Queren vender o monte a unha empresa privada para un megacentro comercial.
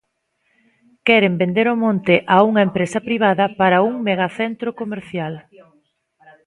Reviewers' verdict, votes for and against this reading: rejected, 0, 2